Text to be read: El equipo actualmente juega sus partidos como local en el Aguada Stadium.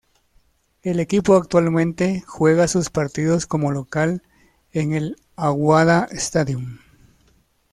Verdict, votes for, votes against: accepted, 2, 0